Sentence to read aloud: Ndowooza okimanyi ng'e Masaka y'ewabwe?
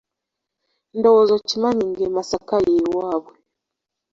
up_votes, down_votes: 2, 0